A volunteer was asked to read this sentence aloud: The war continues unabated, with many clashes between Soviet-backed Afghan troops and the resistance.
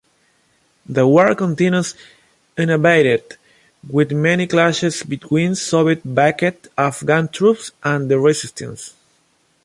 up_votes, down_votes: 0, 2